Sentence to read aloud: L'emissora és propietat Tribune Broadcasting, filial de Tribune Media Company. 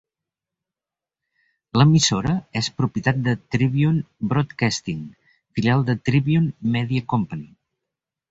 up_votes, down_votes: 1, 3